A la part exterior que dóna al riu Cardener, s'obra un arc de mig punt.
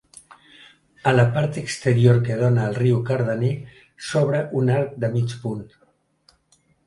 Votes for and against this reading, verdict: 3, 0, accepted